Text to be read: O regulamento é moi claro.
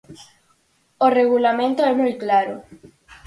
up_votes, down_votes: 4, 0